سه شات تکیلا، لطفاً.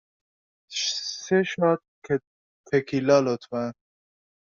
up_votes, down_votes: 1, 2